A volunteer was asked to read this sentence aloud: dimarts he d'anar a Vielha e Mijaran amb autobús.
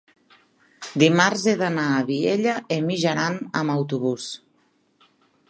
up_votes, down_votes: 2, 0